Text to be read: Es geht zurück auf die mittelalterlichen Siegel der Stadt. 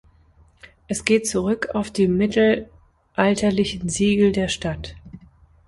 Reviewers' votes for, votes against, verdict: 3, 2, accepted